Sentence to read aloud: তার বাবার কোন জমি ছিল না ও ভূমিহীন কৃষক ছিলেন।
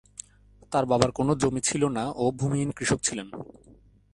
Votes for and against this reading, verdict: 2, 0, accepted